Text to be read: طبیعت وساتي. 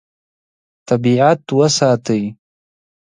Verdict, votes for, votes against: accepted, 2, 0